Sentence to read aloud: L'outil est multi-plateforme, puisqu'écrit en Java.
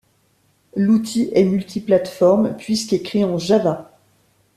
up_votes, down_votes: 2, 0